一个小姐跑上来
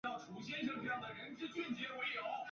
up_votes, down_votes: 0, 4